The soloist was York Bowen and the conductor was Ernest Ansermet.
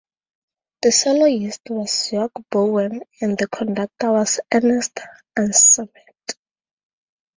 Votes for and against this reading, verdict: 4, 0, accepted